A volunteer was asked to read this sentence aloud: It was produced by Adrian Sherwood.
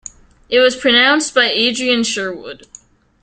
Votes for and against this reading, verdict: 0, 2, rejected